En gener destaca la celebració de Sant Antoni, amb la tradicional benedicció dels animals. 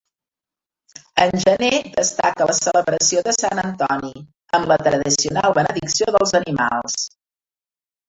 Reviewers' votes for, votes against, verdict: 0, 2, rejected